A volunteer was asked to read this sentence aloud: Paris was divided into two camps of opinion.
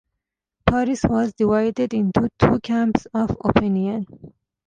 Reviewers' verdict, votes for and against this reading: accepted, 2, 0